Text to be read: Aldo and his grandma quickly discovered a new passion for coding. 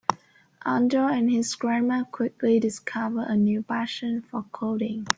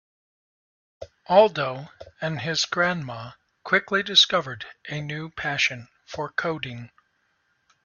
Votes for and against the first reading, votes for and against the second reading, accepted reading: 1, 2, 2, 0, second